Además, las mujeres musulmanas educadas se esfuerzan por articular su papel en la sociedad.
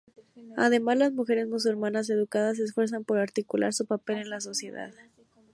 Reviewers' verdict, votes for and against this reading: accepted, 2, 0